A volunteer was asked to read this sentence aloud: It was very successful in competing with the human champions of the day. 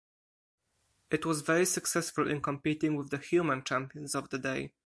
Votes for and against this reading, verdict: 4, 0, accepted